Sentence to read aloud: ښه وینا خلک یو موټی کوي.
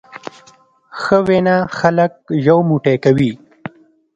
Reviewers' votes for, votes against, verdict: 1, 2, rejected